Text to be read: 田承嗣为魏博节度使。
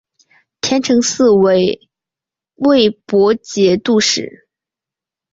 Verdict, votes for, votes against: accepted, 2, 1